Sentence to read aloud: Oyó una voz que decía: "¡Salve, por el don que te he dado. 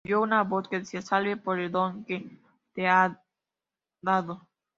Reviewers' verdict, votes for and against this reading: rejected, 0, 2